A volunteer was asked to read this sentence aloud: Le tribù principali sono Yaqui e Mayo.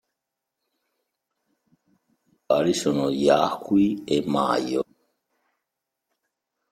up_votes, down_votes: 0, 2